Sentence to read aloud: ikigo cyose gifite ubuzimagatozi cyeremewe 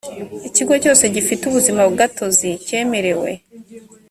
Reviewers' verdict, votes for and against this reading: accepted, 2, 0